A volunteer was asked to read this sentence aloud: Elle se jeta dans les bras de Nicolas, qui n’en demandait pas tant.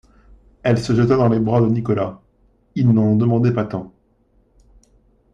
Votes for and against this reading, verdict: 0, 2, rejected